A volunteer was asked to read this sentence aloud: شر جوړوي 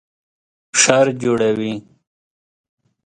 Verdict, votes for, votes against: accepted, 2, 0